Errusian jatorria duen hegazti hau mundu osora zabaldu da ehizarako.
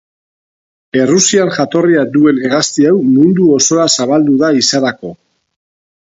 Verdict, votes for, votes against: accepted, 2, 0